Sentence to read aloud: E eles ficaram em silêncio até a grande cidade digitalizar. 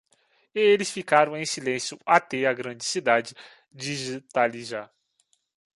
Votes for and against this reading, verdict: 1, 2, rejected